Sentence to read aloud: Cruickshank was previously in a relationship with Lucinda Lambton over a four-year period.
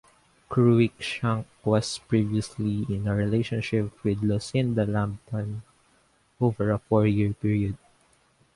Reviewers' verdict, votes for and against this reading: rejected, 0, 2